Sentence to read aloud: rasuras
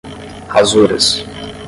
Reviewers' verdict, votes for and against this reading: accepted, 10, 0